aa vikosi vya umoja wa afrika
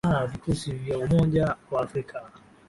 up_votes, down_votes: 7, 5